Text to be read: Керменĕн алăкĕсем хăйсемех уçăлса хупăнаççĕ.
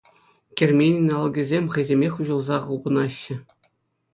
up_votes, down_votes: 2, 0